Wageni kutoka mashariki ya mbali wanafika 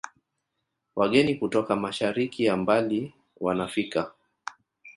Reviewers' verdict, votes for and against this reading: accepted, 2, 0